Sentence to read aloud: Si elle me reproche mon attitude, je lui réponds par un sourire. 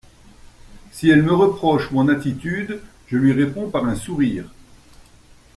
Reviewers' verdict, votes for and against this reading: accepted, 2, 0